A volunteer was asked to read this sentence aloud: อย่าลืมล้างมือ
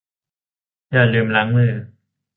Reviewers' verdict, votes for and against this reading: accepted, 3, 0